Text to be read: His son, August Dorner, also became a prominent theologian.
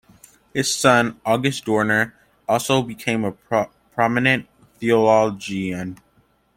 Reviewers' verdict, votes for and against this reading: accepted, 2, 0